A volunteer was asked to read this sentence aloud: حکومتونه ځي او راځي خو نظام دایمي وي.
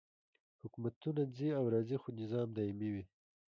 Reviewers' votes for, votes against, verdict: 2, 0, accepted